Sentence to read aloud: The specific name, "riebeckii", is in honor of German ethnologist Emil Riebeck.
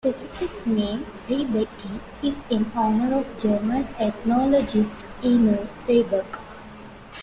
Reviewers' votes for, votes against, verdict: 2, 1, accepted